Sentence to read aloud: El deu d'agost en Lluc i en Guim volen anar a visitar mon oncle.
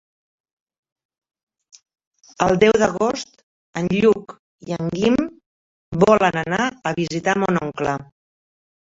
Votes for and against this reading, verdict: 2, 0, accepted